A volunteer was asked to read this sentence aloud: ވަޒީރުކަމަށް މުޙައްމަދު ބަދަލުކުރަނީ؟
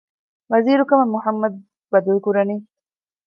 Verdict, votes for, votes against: accepted, 2, 0